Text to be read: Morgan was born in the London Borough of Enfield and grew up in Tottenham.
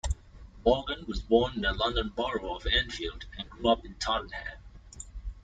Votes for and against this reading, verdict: 2, 0, accepted